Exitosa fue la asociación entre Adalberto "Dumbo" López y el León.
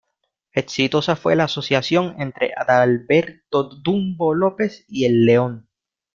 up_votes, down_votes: 1, 2